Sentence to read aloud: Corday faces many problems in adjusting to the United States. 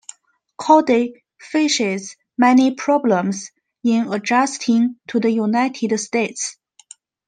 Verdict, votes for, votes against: accepted, 2, 1